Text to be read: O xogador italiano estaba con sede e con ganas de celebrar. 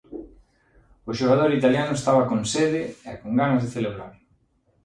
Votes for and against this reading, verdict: 2, 0, accepted